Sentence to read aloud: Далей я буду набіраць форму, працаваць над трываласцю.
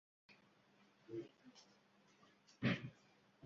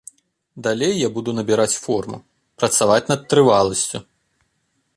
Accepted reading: second